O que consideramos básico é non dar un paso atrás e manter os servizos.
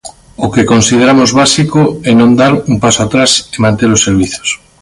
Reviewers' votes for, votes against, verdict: 2, 1, accepted